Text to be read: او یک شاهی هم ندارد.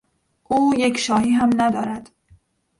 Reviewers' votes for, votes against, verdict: 1, 2, rejected